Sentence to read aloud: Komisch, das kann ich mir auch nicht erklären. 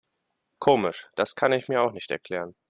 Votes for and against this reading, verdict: 2, 0, accepted